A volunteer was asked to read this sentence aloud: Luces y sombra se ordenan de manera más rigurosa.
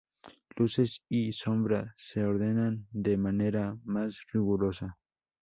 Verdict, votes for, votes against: rejected, 0, 2